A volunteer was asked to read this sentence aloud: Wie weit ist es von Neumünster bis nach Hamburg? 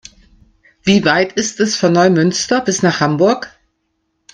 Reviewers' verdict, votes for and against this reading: rejected, 0, 2